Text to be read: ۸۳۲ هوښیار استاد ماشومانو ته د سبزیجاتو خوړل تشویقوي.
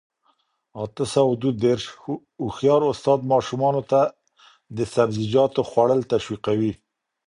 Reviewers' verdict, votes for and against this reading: rejected, 0, 2